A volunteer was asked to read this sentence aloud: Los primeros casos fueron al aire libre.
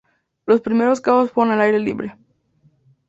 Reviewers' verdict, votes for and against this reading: rejected, 0, 2